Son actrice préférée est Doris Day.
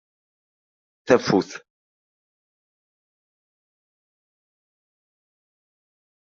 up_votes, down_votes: 0, 2